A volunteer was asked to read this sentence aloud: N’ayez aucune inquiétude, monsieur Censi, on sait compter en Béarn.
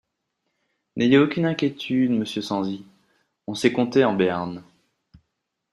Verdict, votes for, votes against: rejected, 1, 2